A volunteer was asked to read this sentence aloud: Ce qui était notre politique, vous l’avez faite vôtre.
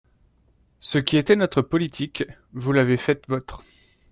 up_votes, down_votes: 2, 3